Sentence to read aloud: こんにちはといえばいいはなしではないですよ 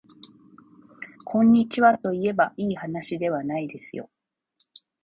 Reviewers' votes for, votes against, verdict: 2, 0, accepted